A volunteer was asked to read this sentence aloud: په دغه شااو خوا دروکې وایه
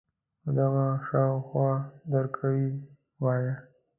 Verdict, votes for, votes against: rejected, 0, 2